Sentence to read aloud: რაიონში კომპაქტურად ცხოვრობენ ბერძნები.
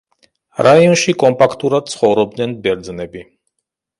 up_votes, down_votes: 0, 2